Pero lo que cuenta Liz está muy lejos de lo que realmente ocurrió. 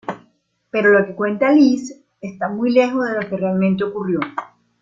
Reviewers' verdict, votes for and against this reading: rejected, 1, 2